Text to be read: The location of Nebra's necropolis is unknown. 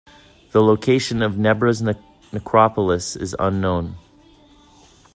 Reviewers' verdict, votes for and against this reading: rejected, 1, 2